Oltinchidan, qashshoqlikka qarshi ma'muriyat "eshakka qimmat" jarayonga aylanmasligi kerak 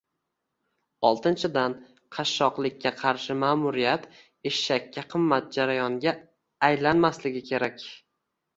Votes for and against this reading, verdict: 2, 0, accepted